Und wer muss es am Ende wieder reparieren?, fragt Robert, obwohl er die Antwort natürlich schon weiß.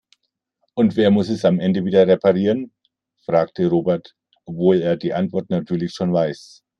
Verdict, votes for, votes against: rejected, 1, 2